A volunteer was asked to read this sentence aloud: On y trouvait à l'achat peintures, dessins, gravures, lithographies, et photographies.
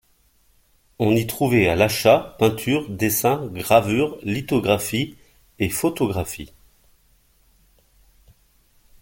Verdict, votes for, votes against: accepted, 2, 0